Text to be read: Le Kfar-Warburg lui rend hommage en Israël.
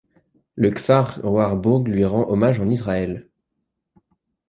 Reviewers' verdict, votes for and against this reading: rejected, 1, 2